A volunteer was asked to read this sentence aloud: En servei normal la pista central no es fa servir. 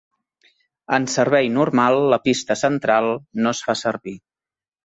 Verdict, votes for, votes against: accepted, 2, 0